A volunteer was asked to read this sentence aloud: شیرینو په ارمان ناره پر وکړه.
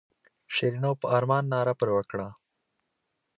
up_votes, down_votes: 2, 0